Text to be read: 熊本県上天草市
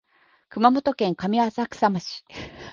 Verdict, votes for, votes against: rejected, 0, 2